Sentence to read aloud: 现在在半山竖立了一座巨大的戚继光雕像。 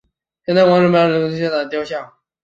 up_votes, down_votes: 0, 2